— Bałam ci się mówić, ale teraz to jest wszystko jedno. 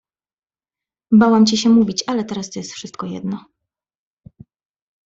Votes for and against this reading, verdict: 1, 2, rejected